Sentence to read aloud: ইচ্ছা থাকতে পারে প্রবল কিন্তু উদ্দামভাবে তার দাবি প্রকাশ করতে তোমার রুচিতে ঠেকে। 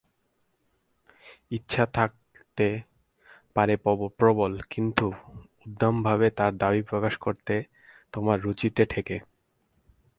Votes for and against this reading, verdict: 0, 4, rejected